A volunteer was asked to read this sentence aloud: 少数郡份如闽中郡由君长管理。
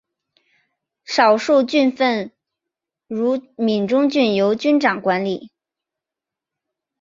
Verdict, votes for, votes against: accepted, 4, 0